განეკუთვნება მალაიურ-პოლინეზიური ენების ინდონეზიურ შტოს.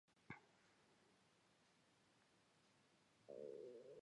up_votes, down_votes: 1, 2